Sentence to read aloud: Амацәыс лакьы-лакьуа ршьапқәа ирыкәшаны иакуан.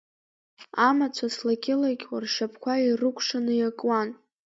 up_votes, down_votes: 2, 1